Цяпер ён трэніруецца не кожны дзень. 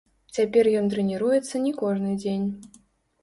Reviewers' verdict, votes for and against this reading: rejected, 0, 2